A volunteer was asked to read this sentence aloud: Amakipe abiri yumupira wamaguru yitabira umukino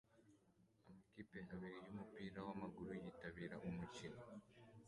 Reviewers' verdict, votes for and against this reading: accepted, 2, 1